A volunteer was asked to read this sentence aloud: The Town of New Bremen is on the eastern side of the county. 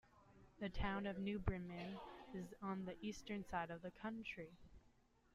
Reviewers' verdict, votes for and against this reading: rejected, 0, 2